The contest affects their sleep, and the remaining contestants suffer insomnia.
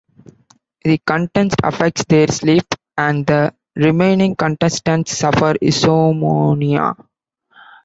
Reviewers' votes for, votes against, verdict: 0, 2, rejected